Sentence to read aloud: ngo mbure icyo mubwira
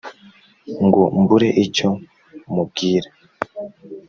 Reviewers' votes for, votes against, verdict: 2, 0, accepted